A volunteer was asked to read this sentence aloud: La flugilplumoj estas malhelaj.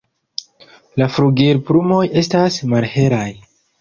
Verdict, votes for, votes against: accepted, 2, 0